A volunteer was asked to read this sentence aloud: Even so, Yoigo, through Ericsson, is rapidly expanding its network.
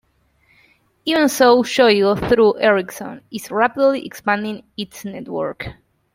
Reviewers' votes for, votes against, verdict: 1, 2, rejected